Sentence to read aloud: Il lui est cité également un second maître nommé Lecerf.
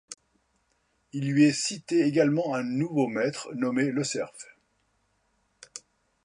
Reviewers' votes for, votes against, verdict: 0, 2, rejected